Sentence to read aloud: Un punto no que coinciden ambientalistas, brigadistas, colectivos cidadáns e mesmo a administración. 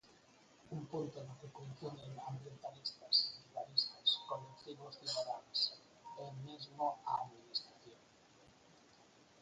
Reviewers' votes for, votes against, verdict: 0, 4, rejected